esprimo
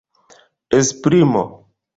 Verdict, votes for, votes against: accepted, 2, 1